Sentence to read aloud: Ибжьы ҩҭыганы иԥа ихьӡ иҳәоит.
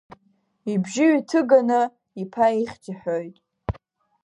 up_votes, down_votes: 2, 0